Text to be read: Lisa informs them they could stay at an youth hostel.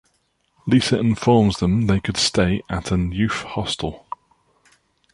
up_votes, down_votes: 2, 0